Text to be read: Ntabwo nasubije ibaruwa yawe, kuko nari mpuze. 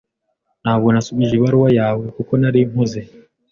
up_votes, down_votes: 2, 0